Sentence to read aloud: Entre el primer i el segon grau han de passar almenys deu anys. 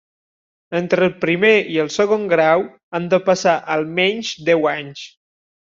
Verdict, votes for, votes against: accepted, 3, 0